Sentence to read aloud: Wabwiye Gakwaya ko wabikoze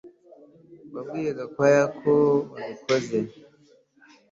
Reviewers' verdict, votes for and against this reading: accepted, 2, 0